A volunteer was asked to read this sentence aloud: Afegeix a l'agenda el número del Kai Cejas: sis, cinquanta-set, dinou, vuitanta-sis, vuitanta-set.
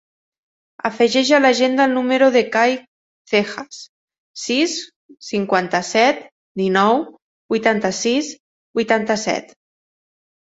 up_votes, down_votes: 1, 2